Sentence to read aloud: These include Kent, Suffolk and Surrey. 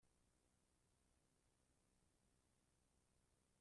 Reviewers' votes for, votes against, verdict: 0, 2, rejected